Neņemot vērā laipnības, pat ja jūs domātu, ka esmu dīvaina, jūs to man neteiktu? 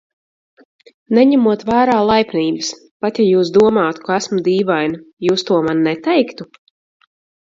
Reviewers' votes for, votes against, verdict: 2, 2, rejected